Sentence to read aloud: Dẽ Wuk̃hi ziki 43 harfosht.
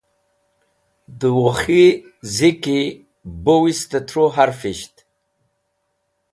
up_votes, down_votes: 0, 2